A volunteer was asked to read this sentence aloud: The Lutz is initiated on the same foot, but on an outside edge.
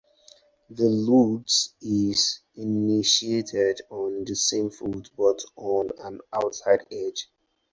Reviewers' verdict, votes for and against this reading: accepted, 4, 0